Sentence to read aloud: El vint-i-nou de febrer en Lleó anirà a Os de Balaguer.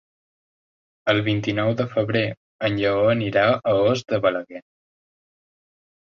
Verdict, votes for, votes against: accepted, 2, 0